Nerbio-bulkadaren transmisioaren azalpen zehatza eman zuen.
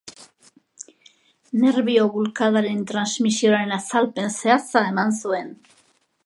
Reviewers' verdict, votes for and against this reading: accepted, 2, 0